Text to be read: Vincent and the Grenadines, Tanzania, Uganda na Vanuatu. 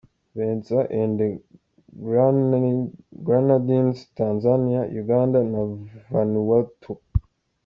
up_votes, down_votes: 1, 2